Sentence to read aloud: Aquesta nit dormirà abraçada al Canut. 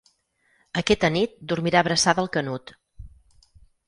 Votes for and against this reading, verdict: 2, 4, rejected